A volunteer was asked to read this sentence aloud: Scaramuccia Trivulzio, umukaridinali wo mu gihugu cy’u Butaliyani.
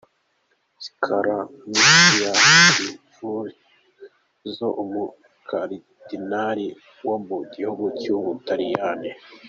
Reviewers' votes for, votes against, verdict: 1, 2, rejected